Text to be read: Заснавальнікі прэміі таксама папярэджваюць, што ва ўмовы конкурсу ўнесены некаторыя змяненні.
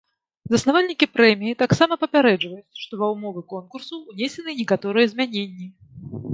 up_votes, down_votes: 2, 1